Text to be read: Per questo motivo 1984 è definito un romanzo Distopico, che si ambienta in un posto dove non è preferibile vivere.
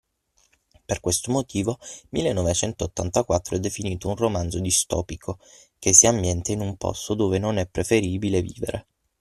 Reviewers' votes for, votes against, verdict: 0, 2, rejected